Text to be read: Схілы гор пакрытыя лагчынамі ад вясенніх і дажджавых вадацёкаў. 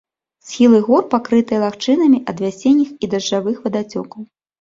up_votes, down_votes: 2, 0